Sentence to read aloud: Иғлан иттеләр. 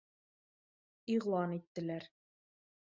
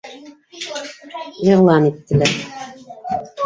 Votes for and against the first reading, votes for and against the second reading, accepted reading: 2, 0, 1, 2, first